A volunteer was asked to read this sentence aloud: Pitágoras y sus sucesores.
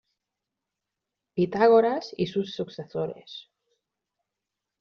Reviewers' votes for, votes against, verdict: 1, 2, rejected